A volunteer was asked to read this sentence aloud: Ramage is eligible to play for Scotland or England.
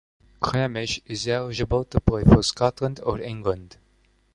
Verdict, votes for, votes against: rejected, 0, 2